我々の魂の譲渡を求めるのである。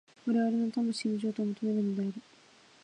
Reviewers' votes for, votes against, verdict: 0, 2, rejected